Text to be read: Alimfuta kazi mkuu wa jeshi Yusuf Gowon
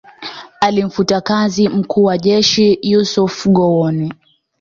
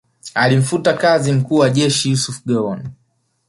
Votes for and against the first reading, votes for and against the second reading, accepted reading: 2, 0, 0, 2, first